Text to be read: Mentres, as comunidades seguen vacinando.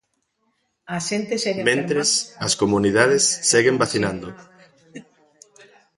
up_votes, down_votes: 0, 2